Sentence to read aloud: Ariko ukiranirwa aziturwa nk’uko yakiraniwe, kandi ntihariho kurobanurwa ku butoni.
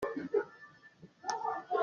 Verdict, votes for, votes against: rejected, 0, 2